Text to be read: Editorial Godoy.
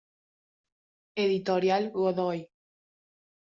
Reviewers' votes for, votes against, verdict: 2, 0, accepted